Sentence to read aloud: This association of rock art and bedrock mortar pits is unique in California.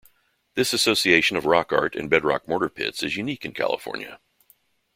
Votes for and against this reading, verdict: 3, 0, accepted